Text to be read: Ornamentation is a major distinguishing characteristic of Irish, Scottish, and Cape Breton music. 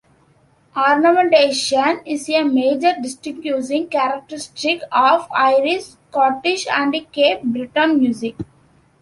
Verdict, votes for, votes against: rejected, 1, 2